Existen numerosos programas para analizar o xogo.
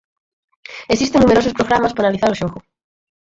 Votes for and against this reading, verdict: 4, 2, accepted